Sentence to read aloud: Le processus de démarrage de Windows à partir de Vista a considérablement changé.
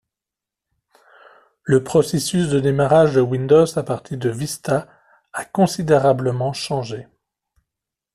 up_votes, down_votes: 2, 0